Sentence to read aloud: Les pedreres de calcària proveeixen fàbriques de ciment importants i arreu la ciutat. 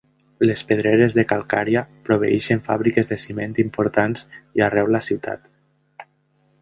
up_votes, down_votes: 1, 2